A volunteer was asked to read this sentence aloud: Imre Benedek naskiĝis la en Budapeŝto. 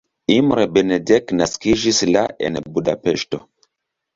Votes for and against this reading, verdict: 2, 0, accepted